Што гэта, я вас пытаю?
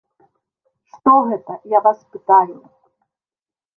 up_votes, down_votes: 1, 2